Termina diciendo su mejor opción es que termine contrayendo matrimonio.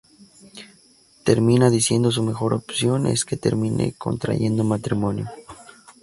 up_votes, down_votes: 0, 2